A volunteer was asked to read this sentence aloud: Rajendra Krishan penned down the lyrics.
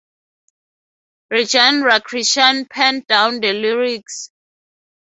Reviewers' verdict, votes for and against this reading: accepted, 4, 0